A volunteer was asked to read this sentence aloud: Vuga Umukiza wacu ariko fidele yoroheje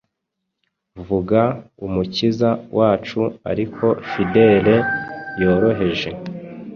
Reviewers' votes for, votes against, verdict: 2, 0, accepted